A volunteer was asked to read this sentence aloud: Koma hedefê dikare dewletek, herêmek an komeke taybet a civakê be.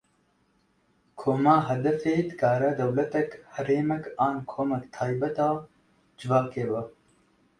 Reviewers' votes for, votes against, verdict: 2, 0, accepted